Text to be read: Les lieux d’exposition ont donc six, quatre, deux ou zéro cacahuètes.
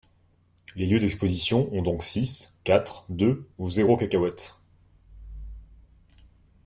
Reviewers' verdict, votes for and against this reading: accepted, 2, 0